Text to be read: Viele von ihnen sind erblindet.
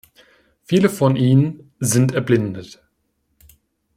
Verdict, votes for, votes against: accepted, 2, 0